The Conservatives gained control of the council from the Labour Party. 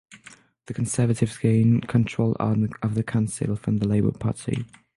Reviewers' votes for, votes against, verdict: 0, 6, rejected